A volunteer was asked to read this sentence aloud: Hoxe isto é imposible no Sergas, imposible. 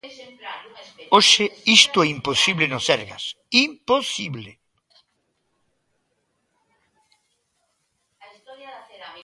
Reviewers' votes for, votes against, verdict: 1, 2, rejected